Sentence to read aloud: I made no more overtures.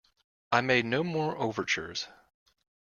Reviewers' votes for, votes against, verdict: 2, 0, accepted